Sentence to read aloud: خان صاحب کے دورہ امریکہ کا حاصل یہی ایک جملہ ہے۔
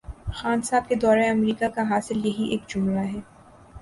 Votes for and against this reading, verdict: 2, 0, accepted